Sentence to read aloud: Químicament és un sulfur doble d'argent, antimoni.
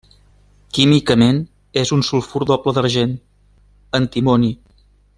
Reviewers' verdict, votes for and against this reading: accepted, 3, 0